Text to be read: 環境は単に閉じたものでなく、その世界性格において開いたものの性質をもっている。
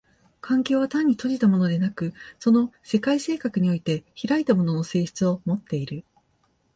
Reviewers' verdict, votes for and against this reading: accepted, 3, 0